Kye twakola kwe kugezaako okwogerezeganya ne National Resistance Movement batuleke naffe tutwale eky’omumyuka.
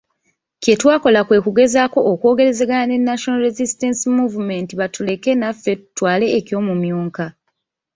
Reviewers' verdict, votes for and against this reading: rejected, 2, 3